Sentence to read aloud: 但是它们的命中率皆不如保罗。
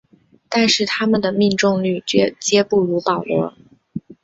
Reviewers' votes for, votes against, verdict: 0, 2, rejected